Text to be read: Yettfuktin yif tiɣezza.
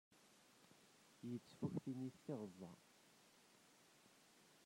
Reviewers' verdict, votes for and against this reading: rejected, 1, 2